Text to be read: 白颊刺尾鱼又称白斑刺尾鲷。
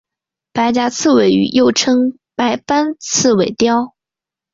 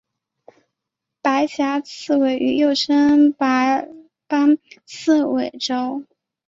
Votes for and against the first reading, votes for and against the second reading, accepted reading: 2, 0, 1, 2, first